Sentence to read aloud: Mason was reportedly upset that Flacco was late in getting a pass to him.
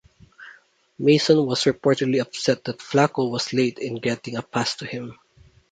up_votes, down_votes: 2, 0